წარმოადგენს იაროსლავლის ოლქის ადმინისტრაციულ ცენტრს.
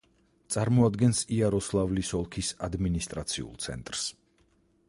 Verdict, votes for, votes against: accepted, 4, 0